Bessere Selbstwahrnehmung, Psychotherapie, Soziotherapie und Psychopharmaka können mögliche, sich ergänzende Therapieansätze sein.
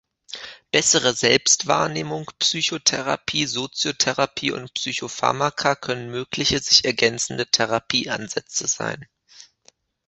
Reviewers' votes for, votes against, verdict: 2, 1, accepted